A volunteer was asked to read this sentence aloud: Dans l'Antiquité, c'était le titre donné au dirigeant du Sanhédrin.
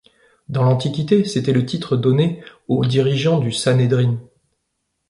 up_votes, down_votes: 2, 0